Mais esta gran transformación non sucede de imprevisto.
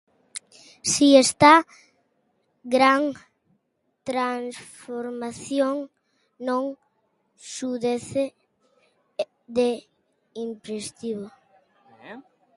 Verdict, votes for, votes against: rejected, 0, 2